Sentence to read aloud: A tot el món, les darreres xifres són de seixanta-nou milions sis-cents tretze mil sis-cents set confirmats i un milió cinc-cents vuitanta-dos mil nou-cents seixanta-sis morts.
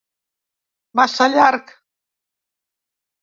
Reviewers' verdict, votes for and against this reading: rejected, 0, 2